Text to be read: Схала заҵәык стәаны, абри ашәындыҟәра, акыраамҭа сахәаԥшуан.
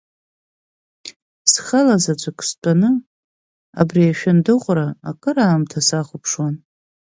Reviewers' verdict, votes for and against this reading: accepted, 2, 0